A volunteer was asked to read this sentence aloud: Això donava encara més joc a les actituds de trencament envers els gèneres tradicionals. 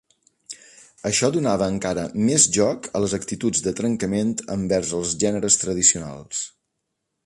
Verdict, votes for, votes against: accepted, 2, 0